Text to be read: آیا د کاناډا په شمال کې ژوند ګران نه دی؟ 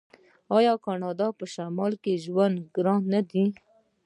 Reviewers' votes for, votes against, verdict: 1, 2, rejected